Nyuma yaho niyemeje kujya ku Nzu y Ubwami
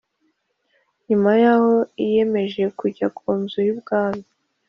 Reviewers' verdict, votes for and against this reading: accepted, 2, 0